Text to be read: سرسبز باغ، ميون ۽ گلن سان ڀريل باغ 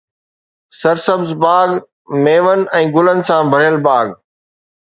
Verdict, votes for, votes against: accepted, 2, 0